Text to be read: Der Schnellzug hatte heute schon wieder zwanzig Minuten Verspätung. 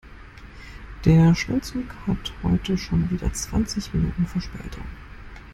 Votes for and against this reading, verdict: 1, 2, rejected